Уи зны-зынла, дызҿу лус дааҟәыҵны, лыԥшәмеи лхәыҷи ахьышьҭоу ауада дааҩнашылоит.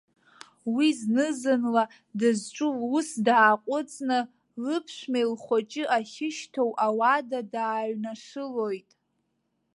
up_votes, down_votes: 2, 0